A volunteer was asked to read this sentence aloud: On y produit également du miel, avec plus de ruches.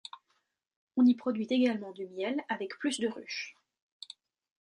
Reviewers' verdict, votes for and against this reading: accepted, 2, 0